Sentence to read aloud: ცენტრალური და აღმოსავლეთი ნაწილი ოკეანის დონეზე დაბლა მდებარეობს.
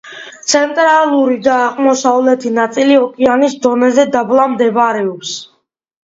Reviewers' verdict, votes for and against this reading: accepted, 2, 1